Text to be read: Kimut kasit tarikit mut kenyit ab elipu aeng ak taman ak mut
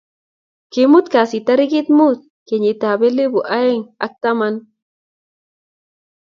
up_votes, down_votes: 0, 3